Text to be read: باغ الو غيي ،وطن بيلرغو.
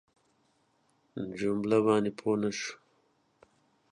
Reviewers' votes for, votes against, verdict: 0, 2, rejected